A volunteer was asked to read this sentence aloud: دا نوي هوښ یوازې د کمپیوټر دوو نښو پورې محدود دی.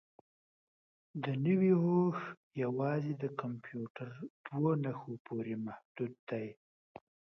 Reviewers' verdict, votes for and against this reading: accepted, 2, 0